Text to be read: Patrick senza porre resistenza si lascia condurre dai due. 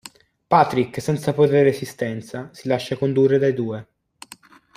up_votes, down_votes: 2, 0